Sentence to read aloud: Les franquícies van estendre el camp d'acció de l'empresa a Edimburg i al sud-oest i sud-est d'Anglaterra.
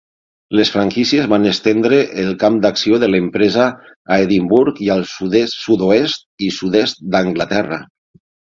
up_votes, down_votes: 3, 6